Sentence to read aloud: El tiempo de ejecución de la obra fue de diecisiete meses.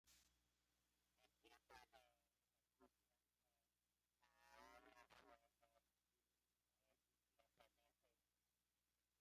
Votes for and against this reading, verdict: 0, 2, rejected